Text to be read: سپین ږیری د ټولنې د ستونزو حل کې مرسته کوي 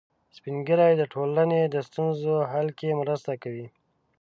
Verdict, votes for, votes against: accepted, 2, 0